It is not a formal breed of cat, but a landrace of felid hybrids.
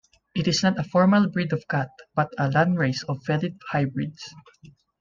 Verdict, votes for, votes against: accepted, 2, 1